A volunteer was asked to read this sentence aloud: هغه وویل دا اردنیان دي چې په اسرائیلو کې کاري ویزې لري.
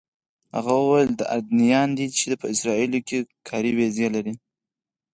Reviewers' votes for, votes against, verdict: 2, 4, rejected